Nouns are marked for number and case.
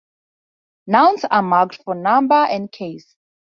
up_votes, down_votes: 4, 0